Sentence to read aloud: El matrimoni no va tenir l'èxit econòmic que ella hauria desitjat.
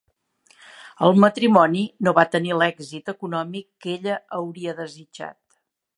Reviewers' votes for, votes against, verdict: 3, 0, accepted